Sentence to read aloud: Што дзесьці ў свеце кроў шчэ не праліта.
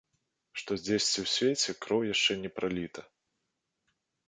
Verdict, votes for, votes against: rejected, 1, 2